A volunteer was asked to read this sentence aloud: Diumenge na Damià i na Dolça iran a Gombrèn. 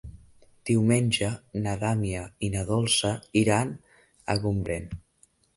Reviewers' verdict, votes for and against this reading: rejected, 1, 2